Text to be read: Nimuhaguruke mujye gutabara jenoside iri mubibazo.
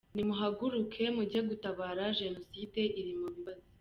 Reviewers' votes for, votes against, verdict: 1, 2, rejected